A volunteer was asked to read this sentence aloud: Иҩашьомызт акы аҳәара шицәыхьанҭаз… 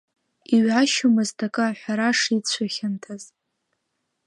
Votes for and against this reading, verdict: 2, 0, accepted